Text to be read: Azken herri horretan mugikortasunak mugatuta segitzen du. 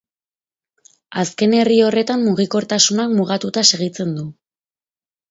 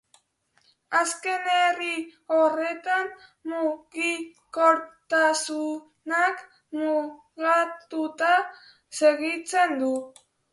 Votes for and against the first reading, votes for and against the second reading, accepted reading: 4, 0, 0, 2, first